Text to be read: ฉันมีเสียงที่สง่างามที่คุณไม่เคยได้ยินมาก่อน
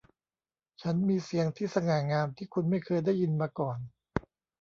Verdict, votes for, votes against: accepted, 2, 0